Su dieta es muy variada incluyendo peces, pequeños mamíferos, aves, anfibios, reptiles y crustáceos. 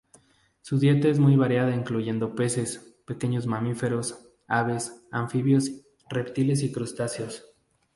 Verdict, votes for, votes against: accepted, 2, 0